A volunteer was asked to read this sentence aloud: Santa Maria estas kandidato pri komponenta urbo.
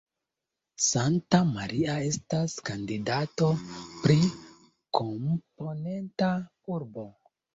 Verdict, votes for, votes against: rejected, 1, 2